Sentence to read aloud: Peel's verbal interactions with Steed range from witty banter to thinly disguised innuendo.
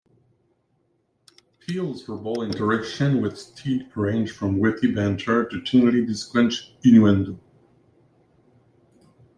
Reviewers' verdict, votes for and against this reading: rejected, 0, 2